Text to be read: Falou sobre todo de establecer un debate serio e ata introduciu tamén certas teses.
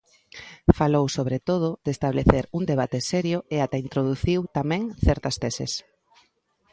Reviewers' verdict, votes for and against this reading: accepted, 2, 0